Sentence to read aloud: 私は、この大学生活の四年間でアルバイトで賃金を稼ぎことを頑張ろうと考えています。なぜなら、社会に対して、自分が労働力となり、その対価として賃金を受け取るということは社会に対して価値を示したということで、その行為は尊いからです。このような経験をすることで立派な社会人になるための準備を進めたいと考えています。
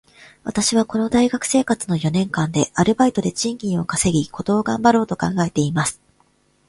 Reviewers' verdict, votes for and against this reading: accepted, 2, 0